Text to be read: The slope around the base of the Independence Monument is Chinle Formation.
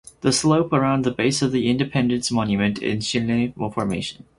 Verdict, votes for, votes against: rejected, 2, 2